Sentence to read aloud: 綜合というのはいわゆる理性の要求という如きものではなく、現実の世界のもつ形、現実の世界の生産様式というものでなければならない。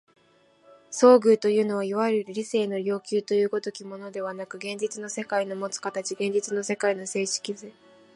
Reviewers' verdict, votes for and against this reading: rejected, 1, 3